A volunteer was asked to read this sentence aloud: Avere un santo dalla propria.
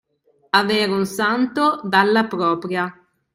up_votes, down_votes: 3, 0